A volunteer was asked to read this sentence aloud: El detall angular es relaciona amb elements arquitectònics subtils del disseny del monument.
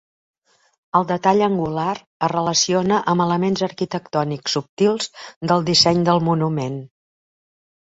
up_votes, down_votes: 3, 0